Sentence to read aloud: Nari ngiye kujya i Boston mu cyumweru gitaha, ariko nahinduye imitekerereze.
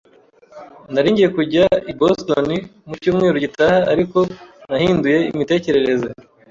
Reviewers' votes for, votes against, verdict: 2, 0, accepted